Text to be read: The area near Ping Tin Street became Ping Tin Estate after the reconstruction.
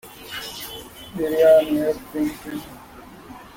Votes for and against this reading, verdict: 0, 2, rejected